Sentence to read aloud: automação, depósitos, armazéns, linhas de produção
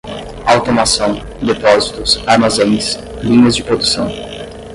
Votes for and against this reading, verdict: 0, 5, rejected